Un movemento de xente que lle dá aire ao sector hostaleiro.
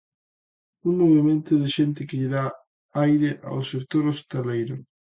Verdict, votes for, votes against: accepted, 2, 0